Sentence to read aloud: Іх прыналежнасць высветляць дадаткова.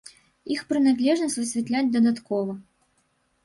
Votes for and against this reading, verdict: 0, 2, rejected